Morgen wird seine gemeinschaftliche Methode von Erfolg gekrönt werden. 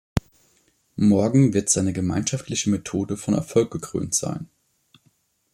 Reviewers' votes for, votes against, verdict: 0, 2, rejected